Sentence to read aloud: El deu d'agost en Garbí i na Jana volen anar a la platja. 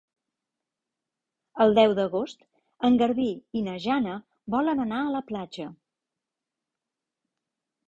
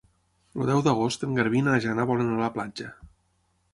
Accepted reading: first